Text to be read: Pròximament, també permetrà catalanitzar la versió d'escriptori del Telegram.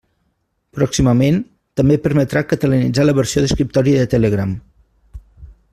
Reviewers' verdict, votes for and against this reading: rejected, 1, 2